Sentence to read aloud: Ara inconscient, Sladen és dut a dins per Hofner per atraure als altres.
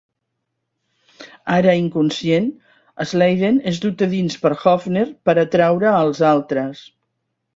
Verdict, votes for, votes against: accepted, 2, 0